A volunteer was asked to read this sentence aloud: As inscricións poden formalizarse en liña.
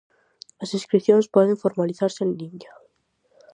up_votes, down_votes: 4, 0